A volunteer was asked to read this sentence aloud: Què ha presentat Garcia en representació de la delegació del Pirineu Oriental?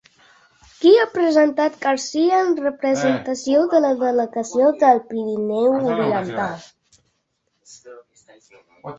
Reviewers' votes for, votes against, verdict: 1, 2, rejected